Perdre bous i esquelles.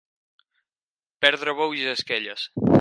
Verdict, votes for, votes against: accepted, 4, 2